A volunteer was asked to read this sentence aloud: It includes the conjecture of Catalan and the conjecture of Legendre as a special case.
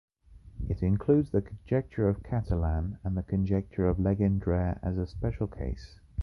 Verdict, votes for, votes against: rejected, 1, 2